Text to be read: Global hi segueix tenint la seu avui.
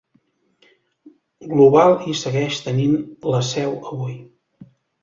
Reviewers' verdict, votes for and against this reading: accepted, 2, 0